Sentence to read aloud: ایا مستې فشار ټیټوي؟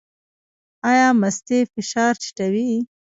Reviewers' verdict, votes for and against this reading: accepted, 2, 1